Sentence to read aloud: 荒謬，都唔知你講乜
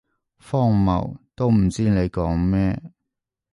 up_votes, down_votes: 0, 2